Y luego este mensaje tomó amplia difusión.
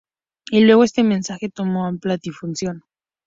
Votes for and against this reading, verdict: 4, 0, accepted